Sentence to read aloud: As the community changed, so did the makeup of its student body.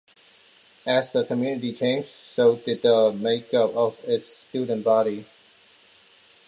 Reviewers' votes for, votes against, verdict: 2, 0, accepted